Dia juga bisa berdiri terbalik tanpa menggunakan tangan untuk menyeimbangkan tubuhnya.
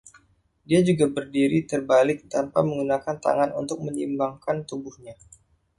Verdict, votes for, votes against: rejected, 1, 2